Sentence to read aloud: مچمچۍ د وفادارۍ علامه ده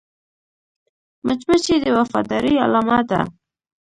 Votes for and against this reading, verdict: 0, 2, rejected